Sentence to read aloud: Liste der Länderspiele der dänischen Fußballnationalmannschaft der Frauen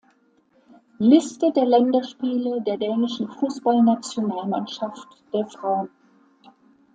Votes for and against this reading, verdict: 2, 1, accepted